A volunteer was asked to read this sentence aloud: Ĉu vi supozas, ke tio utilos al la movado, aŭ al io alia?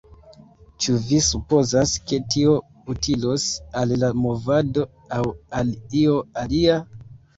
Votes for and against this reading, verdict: 2, 1, accepted